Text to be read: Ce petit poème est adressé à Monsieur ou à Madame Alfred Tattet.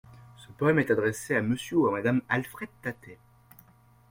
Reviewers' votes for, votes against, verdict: 0, 2, rejected